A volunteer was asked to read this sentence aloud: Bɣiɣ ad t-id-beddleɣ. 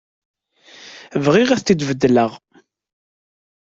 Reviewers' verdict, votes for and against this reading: accepted, 2, 1